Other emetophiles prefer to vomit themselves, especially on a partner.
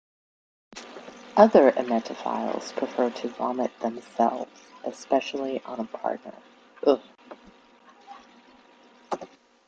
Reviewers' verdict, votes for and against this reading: accepted, 2, 0